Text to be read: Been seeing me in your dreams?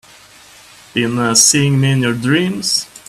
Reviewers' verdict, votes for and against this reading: rejected, 0, 2